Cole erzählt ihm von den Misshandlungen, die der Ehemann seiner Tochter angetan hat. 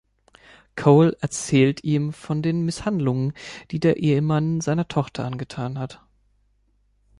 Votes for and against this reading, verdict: 3, 0, accepted